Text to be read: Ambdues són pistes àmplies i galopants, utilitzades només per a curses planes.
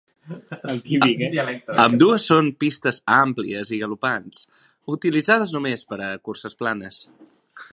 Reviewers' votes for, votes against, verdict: 1, 2, rejected